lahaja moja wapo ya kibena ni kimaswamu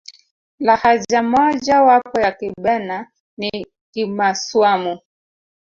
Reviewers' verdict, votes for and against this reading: rejected, 1, 2